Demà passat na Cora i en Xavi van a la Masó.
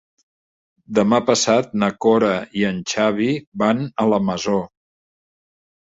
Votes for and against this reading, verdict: 3, 0, accepted